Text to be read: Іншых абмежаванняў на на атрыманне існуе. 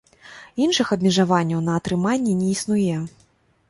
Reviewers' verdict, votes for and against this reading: accepted, 2, 0